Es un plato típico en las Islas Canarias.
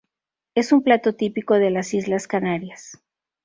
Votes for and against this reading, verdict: 0, 4, rejected